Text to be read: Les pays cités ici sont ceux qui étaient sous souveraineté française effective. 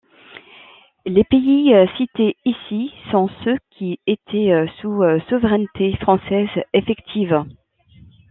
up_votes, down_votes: 2, 0